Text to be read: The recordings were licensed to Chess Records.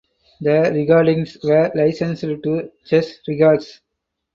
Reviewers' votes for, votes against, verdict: 2, 4, rejected